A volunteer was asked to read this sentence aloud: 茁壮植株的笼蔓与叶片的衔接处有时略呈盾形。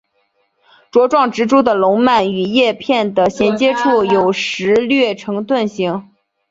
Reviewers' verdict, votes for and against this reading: accepted, 2, 0